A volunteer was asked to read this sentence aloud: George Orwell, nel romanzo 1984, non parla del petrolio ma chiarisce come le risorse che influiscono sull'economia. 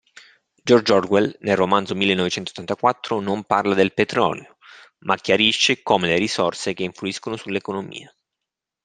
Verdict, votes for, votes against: rejected, 0, 2